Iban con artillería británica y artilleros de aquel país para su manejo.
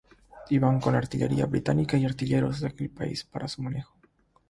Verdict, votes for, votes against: accepted, 3, 0